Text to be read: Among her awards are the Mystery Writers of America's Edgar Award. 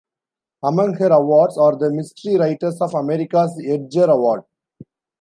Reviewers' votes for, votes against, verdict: 1, 2, rejected